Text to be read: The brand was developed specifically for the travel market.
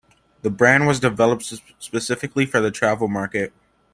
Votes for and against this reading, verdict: 2, 1, accepted